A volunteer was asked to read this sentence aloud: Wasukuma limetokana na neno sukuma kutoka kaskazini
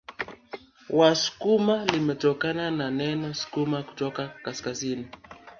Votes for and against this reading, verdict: 3, 2, accepted